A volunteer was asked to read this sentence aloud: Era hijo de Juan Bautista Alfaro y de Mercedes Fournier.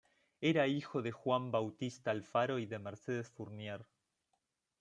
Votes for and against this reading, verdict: 2, 0, accepted